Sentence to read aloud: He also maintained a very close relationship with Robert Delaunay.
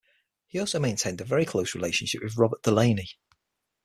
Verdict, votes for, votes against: accepted, 6, 0